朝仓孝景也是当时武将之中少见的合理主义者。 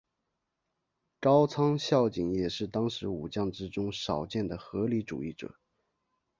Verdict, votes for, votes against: accepted, 4, 0